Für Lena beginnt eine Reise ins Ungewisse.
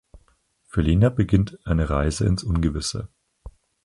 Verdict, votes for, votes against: accepted, 4, 0